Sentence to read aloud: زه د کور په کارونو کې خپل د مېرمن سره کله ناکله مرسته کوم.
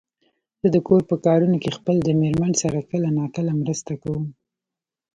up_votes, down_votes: 2, 0